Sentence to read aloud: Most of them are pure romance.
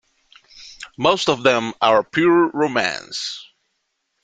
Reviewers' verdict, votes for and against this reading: accepted, 2, 0